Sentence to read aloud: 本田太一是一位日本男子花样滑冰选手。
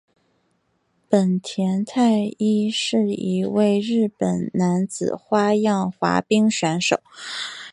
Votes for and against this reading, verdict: 3, 0, accepted